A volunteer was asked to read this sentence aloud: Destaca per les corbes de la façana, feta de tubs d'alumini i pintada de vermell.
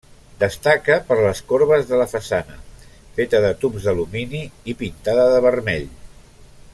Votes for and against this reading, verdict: 3, 0, accepted